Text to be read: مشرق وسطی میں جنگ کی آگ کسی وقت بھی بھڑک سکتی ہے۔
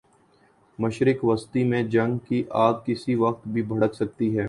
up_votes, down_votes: 3, 0